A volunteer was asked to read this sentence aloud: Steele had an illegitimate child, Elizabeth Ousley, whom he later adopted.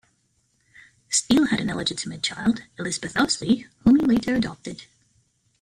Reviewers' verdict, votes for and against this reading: accepted, 2, 1